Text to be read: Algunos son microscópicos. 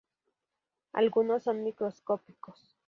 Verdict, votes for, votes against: rejected, 0, 2